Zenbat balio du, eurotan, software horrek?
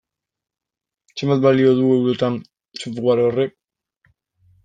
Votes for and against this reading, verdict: 0, 2, rejected